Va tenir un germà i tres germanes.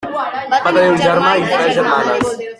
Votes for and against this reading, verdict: 0, 2, rejected